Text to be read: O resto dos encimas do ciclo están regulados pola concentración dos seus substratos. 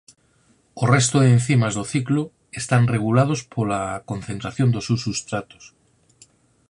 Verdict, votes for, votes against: rejected, 2, 4